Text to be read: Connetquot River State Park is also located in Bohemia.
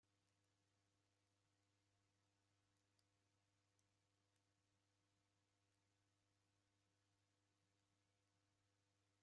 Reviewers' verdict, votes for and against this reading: rejected, 0, 2